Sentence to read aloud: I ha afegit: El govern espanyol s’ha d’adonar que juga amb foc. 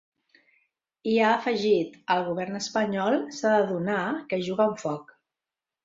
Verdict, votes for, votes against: accepted, 2, 0